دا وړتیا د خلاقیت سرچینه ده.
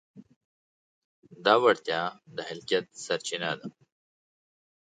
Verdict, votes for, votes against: accepted, 2, 1